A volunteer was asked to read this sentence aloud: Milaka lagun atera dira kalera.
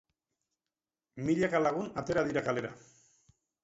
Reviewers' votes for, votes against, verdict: 2, 2, rejected